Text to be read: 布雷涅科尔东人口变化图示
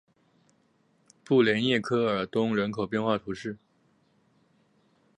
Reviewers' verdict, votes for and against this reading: accepted, 2, 0